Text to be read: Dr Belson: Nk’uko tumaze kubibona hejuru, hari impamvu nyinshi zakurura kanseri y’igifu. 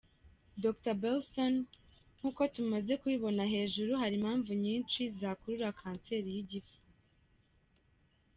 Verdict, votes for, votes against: rejected, 1, 2